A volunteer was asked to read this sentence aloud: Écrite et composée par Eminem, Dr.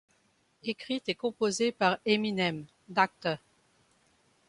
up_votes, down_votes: 1, 2